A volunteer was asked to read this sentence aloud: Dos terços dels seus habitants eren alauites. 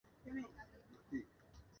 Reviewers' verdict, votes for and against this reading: rejected, 0, 2